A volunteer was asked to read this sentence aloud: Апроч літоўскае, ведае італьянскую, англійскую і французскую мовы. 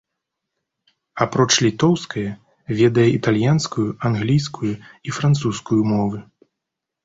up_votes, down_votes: 2, 0